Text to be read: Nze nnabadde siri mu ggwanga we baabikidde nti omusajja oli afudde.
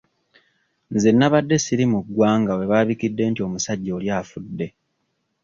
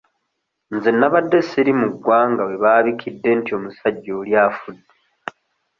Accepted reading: second